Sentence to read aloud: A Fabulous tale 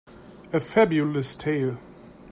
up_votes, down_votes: 4, 1